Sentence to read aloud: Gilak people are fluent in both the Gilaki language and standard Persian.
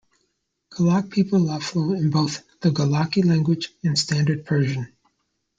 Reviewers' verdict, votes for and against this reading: rejected, 0, 2